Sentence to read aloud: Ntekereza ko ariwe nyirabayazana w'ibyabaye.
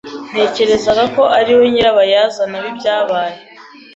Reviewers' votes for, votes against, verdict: 2, 3, rejected